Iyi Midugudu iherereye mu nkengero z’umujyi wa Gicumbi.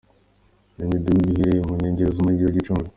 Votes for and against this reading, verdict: 2, 0, accepted